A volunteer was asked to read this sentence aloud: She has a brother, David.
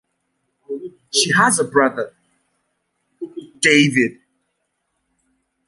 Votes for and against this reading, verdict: 2, 1, accepted